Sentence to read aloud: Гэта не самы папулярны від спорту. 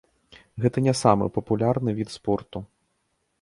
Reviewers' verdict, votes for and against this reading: accepted, 2, 0